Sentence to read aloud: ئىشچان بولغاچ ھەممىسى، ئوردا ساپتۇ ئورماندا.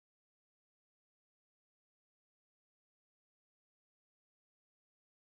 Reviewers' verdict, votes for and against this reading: rejected, 0, 4